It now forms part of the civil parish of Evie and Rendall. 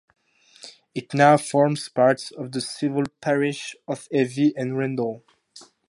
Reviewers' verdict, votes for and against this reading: accepted, 4, 0